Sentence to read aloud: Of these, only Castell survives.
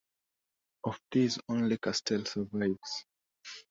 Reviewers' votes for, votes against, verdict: 2, 0, accepted